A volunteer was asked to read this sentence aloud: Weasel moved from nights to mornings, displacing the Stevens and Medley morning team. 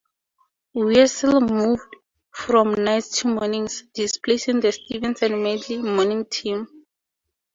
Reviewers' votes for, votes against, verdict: 4, 0, accepted